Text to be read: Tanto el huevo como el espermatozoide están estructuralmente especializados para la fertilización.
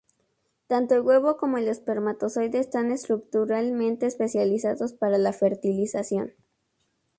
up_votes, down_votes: 2, 0